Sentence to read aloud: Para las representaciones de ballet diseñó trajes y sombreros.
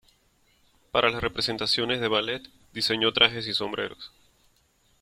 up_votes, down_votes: 2, 0